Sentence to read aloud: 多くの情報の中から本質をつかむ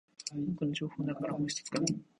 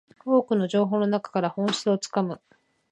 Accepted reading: second